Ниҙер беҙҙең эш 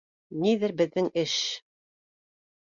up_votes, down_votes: 2, 0